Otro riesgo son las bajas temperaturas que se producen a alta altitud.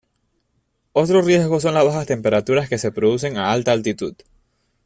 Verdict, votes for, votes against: accepted, 2, 0